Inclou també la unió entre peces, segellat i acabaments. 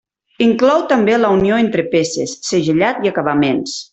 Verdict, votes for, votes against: rejected, 0, 2